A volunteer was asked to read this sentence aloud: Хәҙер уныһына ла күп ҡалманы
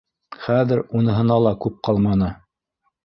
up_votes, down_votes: 2, 0